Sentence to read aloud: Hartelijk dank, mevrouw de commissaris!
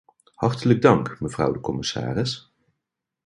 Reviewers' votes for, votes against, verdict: 2, 0, accepted